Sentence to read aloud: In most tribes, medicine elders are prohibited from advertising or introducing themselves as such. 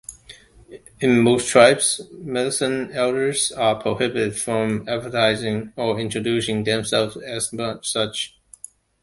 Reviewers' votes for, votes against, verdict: 1, 2, rejected